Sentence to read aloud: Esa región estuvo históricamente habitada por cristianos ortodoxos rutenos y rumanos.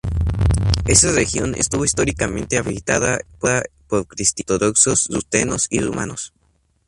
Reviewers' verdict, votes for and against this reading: rejected, 2, 2